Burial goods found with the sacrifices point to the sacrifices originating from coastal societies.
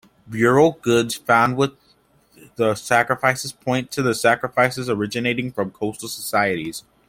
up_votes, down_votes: 2, 0